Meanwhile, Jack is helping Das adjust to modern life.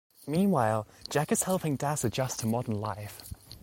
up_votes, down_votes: 2, 0